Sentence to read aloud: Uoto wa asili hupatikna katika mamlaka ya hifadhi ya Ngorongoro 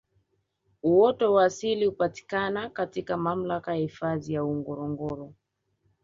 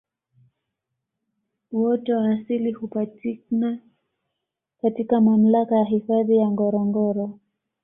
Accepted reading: second